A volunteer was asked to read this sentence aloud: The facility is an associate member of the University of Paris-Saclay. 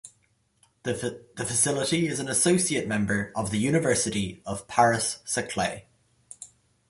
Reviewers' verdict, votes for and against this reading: rejected, 1, 2